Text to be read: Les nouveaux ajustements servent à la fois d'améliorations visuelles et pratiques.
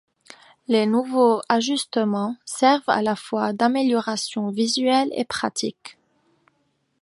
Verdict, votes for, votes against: accepted, 2, 0